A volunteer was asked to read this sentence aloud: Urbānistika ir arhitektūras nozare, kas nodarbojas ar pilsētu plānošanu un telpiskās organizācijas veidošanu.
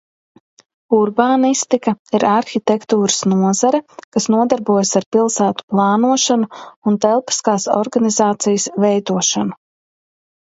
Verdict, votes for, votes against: accepted, 3, 0